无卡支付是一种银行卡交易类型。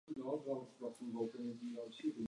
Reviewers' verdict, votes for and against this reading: rejected, 0, 3